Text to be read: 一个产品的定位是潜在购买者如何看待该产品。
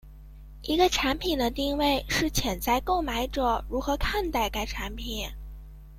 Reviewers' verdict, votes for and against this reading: accepted, 2, 0